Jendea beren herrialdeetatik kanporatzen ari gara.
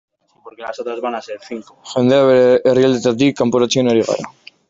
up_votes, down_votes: 0, 2